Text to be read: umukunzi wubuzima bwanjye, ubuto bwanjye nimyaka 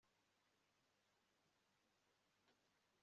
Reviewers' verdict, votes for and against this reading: rejected, 1, 2